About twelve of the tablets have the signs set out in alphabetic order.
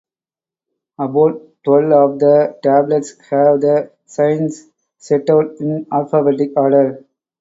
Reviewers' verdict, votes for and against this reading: accepted, 2, 0